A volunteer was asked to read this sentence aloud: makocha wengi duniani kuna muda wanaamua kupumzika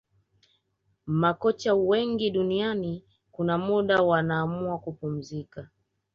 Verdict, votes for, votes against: rejected, 0, 2